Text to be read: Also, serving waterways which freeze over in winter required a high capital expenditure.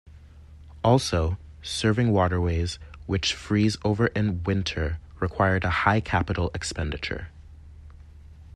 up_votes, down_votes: 2, 0